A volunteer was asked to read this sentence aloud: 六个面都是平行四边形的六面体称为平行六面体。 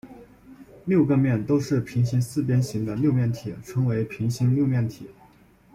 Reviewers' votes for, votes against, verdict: 2, 0, accepted